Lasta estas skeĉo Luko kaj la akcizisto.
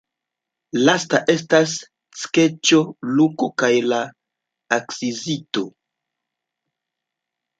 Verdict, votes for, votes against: accepted, 2, 0